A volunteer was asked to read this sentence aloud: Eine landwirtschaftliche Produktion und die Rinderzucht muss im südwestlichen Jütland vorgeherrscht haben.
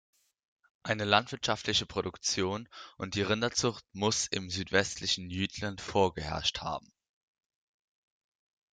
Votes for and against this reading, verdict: 3, 0, accepted